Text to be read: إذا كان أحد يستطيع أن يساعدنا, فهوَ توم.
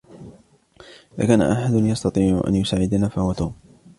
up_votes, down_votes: 2, 1